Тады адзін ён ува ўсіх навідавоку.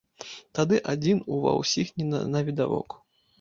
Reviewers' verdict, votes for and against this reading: rejected, 2, 3